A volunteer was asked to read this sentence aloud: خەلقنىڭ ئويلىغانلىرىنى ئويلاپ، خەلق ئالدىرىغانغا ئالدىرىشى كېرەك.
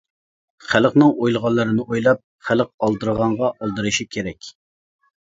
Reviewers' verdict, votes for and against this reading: accepted, 2, 0